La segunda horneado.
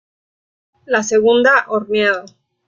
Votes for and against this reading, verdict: 2, 0, accepted